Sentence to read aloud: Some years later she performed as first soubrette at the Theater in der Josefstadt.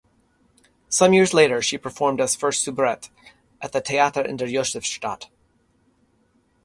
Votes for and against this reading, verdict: 3, 0, accepted